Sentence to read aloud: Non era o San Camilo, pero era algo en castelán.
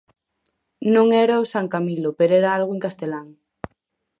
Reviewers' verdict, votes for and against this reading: accepted, 4, 0